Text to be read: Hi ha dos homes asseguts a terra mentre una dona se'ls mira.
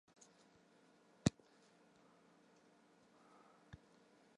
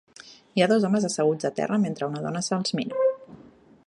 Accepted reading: second